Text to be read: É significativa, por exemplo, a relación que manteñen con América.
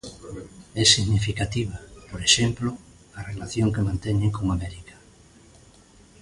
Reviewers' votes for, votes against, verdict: 2, 0, accepted